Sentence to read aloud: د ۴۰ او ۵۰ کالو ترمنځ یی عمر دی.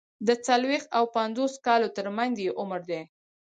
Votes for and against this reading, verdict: 0, 2, rejected